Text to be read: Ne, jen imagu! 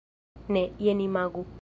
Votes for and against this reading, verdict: 0, 2, rejected